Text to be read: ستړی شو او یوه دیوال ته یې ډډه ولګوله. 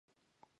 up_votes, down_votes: 0, 2